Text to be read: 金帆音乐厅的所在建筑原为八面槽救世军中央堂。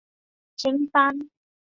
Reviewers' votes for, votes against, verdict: 1, 2, rejected